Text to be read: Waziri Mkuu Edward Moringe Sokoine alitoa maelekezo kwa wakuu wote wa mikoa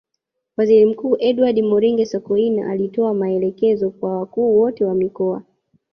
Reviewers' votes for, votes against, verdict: 1, 2, rejected